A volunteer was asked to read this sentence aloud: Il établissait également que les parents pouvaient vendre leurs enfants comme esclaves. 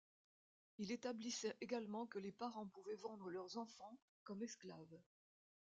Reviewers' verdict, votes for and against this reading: accepted, 2, 0